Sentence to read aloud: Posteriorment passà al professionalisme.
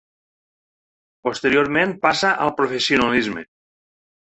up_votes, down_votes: 0, 3